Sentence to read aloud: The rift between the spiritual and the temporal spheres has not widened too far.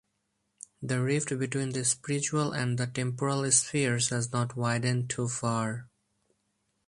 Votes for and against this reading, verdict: 2, 0, accepted